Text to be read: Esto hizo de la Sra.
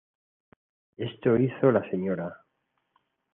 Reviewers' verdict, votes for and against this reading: rejected, 1, 2